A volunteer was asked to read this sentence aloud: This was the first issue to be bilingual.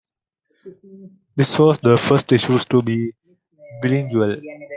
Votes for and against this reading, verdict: 1, 2, rejected